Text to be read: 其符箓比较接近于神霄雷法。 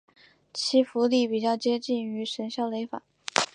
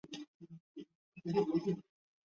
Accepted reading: first